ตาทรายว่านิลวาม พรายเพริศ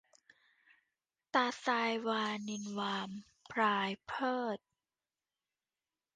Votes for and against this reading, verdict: 0, 2, rejected